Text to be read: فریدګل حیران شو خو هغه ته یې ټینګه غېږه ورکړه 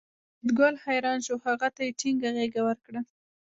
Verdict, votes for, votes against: rejected, 1, 2